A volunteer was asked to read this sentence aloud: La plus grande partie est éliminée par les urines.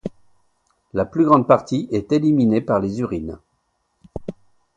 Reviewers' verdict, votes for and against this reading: accepted, 2, 0